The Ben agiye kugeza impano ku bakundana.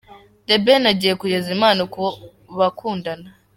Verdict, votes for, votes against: accepted, 2, 1